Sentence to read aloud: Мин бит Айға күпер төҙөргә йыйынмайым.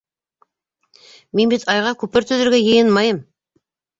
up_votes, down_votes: 2, 0